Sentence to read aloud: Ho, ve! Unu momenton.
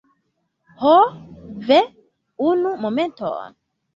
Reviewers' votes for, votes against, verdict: 2, 0, accepted